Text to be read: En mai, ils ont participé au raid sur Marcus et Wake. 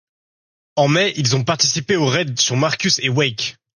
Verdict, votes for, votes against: accepted, 2, 0